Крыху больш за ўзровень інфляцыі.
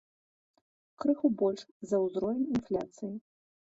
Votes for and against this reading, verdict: 1, 2, rejected